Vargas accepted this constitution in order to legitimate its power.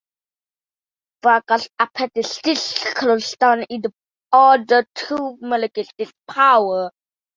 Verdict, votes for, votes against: rejected, 0, 2